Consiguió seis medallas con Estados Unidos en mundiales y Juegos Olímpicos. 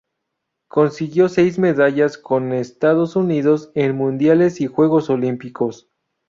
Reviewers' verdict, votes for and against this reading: accepted, 2, 0